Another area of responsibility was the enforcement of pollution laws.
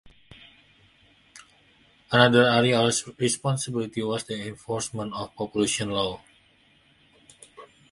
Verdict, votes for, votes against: rejected, 0, 2